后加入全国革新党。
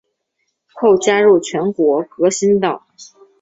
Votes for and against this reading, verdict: 2, 1, accepted